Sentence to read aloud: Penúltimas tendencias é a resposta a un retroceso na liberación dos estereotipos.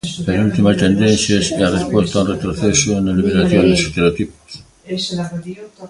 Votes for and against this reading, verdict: 0, 2, rejected